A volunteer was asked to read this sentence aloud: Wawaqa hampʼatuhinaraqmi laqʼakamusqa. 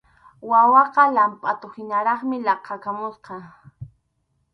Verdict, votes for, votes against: rejected, 0, 2